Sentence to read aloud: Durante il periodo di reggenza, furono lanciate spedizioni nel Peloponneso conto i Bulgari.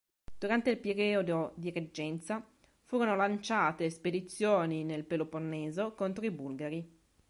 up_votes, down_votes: 2, 0